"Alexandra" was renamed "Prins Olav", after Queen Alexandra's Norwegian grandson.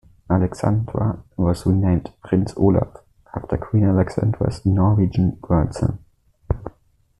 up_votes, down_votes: 2, 0